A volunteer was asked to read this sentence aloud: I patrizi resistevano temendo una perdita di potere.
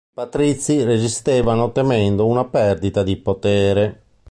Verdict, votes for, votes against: rejected, 0, 2